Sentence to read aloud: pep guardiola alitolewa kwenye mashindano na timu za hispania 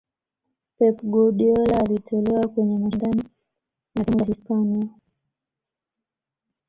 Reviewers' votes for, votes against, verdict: 0, 2, rejected